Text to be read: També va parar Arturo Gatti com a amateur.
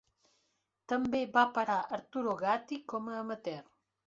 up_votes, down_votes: 3, 0